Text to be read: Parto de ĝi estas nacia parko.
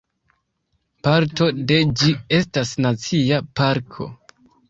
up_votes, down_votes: 2, 0